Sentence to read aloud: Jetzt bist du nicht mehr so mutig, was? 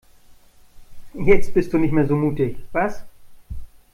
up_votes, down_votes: 2, 0